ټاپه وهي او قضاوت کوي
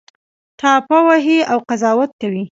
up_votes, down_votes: 2, 0